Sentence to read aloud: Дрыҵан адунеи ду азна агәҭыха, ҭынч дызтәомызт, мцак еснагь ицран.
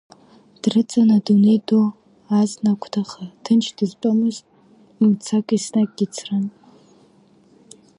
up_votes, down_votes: 0, 2